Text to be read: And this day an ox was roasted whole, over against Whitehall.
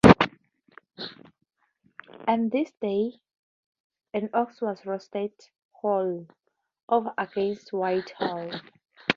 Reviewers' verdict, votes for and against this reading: accepted, 4, 0